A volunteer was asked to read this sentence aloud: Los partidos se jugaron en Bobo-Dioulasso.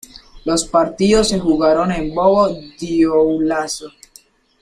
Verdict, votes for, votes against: rejected, 1, 2